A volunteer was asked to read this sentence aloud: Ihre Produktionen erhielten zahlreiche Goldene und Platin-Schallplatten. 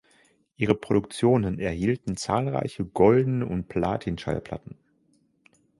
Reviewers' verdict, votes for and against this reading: accepted, 3, 0